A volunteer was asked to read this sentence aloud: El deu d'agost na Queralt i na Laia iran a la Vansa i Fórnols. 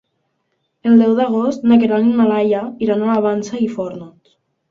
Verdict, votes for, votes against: accepted, 2, 0